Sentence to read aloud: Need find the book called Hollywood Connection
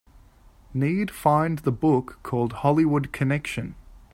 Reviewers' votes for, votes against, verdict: 2, 0, accepted